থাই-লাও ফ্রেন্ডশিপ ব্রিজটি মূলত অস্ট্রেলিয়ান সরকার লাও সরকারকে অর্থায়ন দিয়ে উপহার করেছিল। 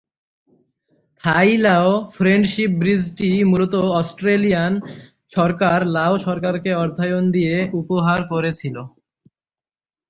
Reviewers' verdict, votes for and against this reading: accepted, 3, 0